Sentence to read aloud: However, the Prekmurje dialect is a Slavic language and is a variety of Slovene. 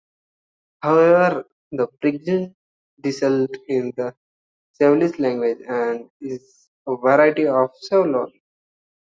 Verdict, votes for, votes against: rejected, 0, 2